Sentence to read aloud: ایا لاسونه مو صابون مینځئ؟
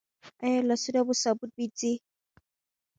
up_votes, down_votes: 2, 1